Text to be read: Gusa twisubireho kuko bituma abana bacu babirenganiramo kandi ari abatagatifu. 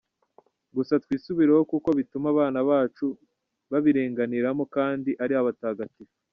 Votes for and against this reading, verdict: 2, 1, accepted